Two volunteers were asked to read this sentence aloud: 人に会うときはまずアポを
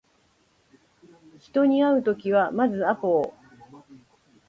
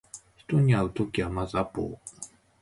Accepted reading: first